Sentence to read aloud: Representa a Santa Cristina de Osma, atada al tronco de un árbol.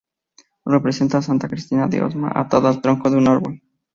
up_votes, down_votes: 2, 0